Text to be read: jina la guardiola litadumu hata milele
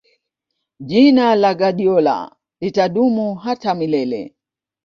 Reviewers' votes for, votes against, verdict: 2, 0, accepted